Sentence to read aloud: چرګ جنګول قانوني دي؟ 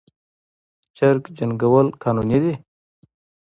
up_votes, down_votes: 2, 1